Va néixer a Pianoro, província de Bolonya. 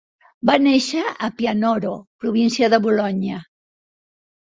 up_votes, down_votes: 1, 2